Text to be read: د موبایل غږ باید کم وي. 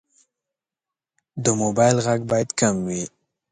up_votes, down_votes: 2, 0